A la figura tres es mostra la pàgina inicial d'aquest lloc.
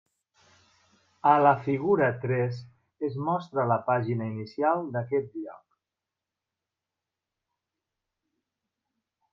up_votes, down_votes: 0, 2